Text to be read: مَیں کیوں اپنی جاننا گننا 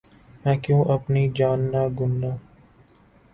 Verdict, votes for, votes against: accepted, 3, 0